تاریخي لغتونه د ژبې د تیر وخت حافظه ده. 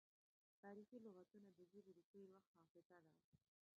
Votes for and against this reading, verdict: 1, 2, rejected